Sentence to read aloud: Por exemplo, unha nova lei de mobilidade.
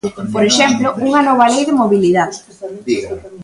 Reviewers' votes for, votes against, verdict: 0, 2, rejected